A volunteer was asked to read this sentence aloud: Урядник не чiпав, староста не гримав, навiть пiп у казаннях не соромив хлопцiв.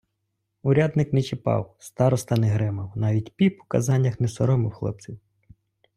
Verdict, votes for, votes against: accepted, 2, 0